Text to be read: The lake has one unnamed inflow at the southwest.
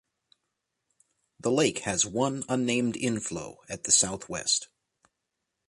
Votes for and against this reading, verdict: 2, 0, accepted